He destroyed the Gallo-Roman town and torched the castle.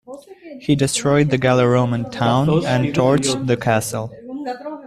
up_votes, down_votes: 0, 2